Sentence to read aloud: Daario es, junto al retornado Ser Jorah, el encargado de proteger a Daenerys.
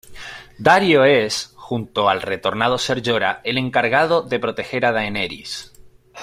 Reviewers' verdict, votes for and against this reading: accepted, 2, 0